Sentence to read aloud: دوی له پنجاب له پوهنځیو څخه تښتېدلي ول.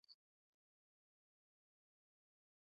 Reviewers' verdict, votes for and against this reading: rejected, 0, 2